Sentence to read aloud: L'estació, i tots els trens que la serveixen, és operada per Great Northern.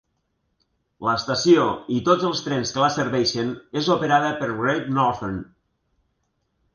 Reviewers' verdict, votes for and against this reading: accepted, 3, 0